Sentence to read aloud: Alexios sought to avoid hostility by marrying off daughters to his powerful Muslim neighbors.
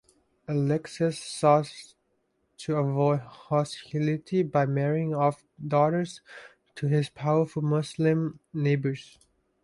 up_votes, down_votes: 0, 2